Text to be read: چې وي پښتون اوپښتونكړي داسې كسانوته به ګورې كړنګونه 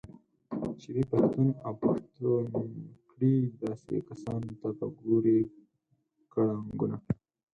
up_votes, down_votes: 2, 4